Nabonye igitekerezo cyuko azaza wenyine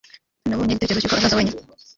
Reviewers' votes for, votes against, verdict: 1, 2, rejected